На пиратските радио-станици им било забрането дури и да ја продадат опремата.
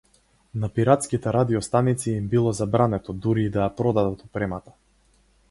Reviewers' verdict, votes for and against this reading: accepted, 2, 0